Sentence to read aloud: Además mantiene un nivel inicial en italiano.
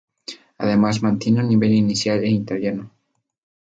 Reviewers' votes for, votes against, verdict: 2, 0, accepted